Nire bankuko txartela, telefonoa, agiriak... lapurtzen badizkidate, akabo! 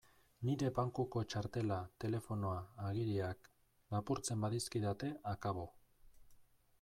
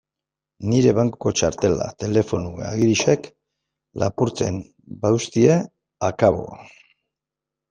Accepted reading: first